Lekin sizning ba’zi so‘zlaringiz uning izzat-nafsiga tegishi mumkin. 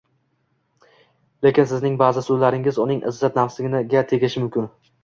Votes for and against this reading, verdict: 2, 1, accepted